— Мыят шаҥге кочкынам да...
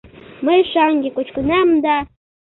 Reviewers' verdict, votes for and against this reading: rejected, 1, 2